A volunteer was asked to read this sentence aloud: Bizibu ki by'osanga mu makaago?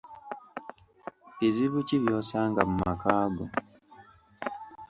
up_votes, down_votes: 2, 0